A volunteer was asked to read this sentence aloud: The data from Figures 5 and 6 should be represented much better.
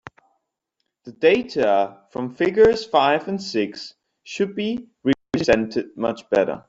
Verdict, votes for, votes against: rejected, 0, 2